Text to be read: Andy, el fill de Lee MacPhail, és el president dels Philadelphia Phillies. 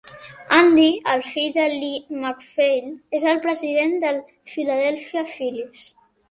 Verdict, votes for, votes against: accepted, 2, 0